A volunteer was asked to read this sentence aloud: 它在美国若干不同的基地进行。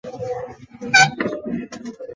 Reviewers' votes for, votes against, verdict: 2, 3, rejected